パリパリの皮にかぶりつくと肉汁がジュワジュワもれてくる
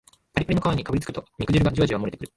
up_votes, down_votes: 3, 4